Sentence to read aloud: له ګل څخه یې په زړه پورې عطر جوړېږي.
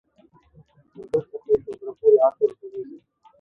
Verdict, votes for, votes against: rejected, 1, 2